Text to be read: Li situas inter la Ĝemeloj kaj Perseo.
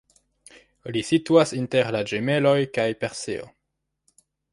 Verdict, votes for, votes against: accepted, 2, 1